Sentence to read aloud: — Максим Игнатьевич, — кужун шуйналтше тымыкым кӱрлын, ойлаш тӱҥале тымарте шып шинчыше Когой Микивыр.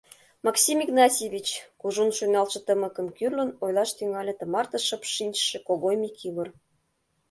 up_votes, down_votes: 2, 0